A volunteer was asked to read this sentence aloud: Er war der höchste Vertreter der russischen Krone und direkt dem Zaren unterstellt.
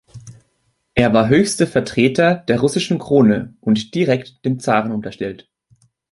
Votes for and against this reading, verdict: 0, 2, rejected